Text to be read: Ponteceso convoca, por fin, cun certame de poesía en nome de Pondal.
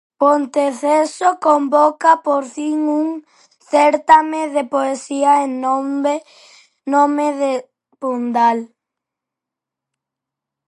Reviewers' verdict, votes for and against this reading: rejected, 0, 4